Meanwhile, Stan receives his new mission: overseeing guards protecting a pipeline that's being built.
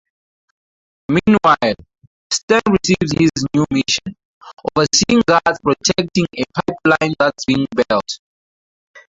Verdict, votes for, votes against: rejected, 0, 4